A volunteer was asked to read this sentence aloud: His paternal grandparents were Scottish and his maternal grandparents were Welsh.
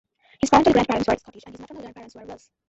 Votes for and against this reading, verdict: 0, 2, rejected